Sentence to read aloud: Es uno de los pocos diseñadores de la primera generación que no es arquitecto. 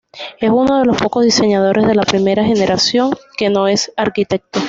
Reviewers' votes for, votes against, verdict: 2, 0, accepted